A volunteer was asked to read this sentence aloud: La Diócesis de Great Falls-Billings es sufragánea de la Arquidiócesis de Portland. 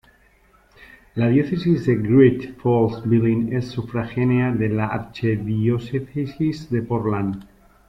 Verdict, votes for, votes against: rejected, 0, 2